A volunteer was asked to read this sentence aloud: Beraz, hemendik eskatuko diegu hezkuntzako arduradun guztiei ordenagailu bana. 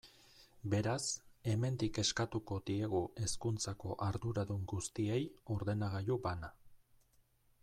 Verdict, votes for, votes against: rejected, 1, 2